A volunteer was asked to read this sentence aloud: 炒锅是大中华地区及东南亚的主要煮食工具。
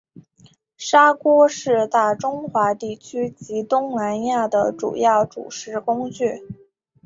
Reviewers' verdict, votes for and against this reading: accepted, 4, 1